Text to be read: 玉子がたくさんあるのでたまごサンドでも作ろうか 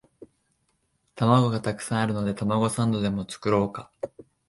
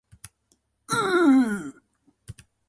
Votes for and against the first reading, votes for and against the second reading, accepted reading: 6, 0, 0, 2, first